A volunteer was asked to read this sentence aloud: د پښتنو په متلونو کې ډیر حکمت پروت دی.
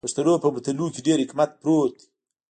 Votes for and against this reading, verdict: 1, 2, rejected